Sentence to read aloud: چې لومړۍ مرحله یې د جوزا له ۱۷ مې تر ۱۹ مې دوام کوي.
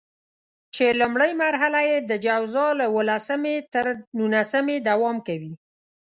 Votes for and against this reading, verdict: 0, 2, rejected